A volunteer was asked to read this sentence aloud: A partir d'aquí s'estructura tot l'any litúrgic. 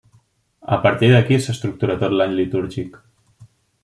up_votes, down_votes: 2, 0